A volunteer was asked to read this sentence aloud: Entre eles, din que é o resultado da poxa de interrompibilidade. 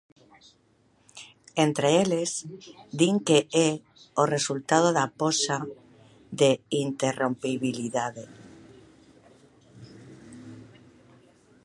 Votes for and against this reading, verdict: 2, 0, accepted